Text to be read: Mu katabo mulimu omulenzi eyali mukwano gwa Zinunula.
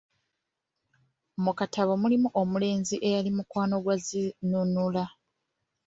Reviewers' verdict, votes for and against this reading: accepted, 2, 1